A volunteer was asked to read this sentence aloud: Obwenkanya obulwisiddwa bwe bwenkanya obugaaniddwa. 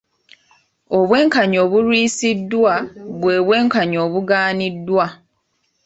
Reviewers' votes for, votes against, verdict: 2, 0, accepted